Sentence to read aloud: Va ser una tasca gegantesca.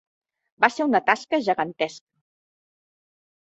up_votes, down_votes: 0, 2